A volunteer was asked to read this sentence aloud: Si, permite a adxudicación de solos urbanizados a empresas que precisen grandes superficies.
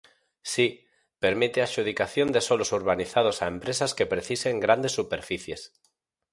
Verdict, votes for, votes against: accepted, 4, 0